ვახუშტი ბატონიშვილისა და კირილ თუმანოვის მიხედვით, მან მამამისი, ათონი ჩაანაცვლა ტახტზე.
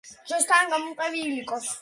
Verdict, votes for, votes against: rejected, 1, 2